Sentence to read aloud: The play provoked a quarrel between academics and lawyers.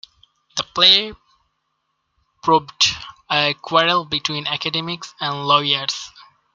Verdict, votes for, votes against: rejected, 1, 2